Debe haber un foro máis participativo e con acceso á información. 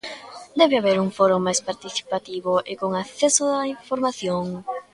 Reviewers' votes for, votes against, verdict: 2, 0, accepted